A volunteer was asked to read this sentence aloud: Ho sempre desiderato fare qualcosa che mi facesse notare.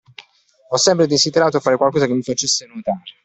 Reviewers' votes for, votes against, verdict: 2, 0, accepted